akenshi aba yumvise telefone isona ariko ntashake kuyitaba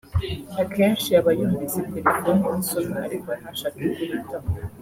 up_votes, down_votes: 3, 0